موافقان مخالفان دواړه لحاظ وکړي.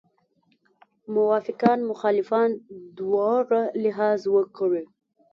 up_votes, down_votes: 0, 2